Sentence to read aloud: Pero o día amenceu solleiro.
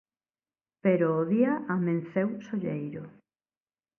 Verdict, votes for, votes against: accepted, 2, 0